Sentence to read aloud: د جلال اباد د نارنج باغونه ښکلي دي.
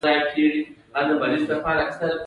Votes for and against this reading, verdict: 2, 1, accepted